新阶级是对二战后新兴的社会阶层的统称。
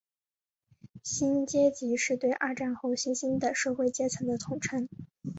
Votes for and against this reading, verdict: 5, 0, accepted